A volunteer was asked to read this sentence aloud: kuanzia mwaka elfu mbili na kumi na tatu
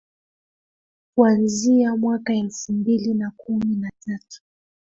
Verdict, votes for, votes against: rejected, 1, 2